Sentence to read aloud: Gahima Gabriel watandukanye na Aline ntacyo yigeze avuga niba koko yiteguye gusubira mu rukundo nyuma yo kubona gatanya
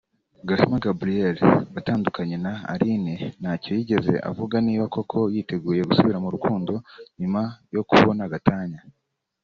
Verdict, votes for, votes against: accepted, 2, 0